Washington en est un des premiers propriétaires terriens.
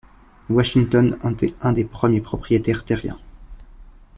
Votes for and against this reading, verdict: 1, 2, rejected